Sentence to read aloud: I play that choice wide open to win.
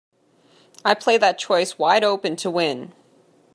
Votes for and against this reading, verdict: 2, 1, accepted